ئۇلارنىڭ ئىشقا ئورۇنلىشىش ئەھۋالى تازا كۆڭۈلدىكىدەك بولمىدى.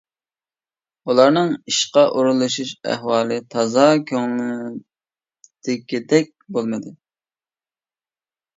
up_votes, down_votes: 0, 2